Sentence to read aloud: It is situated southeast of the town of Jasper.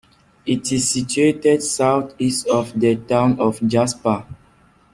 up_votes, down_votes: 2, 0